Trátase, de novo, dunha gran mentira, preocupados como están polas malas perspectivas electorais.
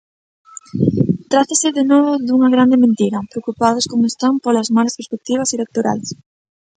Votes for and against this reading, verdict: 0, 2, rejected